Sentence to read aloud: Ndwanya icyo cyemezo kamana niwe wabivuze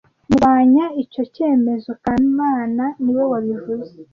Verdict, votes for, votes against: accepted, 2, 0